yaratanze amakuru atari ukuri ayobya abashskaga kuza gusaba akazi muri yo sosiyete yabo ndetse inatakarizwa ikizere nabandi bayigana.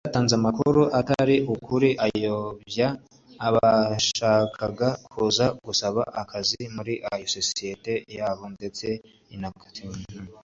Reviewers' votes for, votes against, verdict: 1, 2, rejected